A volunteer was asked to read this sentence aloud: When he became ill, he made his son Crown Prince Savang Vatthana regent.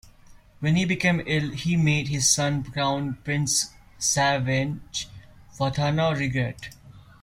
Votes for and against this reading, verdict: 0, 2, rejected